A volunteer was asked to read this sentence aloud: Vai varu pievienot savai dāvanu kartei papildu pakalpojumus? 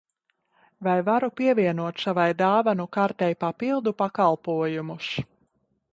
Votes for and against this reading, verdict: 2, 0, accepted